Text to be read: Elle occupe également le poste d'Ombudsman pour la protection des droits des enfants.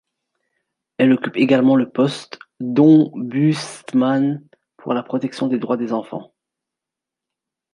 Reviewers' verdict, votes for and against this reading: rejected, 1, 2